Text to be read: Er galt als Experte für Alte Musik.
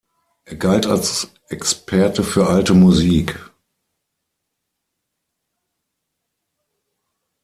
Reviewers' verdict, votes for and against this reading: rejected, 0, 6